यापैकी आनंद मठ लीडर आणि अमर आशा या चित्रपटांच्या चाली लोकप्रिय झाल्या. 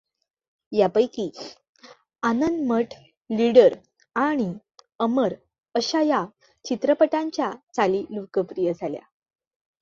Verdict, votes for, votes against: accepted, 2, 0